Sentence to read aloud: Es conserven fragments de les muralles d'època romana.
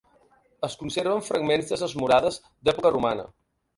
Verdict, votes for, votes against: rejected, 2, 4